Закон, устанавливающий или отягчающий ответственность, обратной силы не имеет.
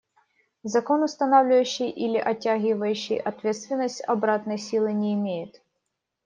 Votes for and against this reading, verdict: 1, 2, rejected